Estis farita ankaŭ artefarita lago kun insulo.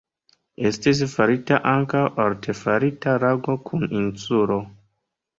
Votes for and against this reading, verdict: 2, 0, accepted